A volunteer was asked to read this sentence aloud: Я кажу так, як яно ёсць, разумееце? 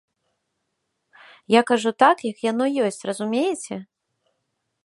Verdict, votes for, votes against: accepted, 2, 0